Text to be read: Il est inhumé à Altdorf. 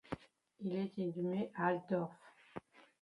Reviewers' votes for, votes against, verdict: 1, 2, rejected